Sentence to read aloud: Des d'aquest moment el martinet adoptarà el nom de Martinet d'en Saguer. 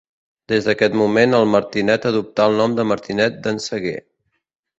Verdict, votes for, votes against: rejected, 0, 2